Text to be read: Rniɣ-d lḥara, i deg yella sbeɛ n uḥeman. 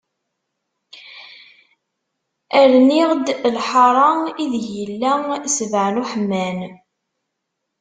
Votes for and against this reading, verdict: 0, 2, rejected